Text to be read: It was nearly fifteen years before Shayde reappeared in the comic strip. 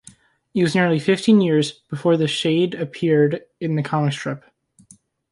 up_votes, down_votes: 2, 0